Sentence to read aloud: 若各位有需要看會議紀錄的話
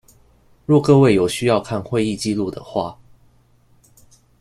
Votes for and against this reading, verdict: 2, 0, accepted